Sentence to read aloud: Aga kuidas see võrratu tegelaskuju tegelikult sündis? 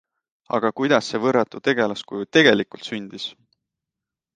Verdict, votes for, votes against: accepted, 2, 0